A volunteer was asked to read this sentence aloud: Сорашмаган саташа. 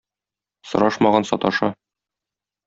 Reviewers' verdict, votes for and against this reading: accepted, 2, 0